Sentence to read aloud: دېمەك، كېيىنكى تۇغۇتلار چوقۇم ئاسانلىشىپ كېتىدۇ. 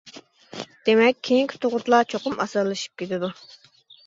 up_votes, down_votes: 2, 0